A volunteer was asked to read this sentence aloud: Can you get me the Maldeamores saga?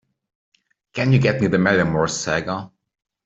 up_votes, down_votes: 2, 0